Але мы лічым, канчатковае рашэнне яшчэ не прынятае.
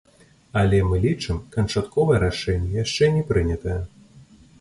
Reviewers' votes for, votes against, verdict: 0, 2, rejected